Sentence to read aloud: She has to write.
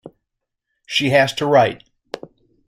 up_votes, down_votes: 2, 0